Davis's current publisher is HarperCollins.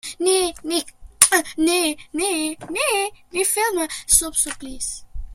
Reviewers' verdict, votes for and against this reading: rejected, 0, 2